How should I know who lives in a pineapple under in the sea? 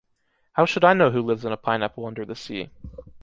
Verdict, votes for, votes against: accepted, 2, 0